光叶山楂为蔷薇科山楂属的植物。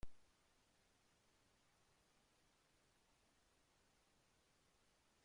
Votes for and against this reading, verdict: 0, 2, rejected